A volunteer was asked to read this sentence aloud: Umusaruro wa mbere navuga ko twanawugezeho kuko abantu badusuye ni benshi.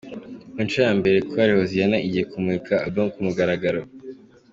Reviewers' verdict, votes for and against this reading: rejected, 1, 2